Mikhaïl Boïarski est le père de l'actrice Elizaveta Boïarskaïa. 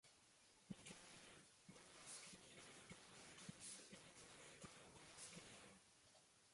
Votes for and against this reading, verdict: 0, 2, rejected